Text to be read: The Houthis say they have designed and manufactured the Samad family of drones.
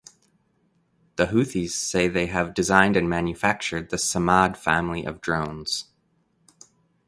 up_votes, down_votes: 2, 0